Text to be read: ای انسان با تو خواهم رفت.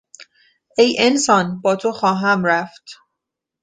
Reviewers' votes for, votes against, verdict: 2, 0, accepted